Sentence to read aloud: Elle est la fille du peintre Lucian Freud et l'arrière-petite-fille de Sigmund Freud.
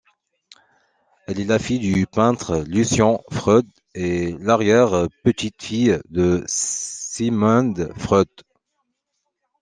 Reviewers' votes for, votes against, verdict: 2, 1, accepted